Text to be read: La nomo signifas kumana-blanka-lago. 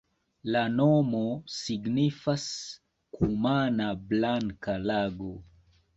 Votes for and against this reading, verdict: 2, 1, accepted